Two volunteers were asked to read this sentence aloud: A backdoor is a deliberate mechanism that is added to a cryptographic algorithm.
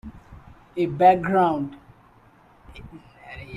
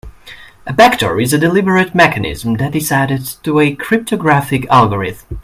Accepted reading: second